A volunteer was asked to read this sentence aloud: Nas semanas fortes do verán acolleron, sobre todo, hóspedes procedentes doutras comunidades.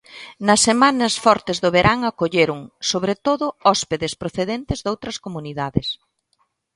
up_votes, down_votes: 2, 0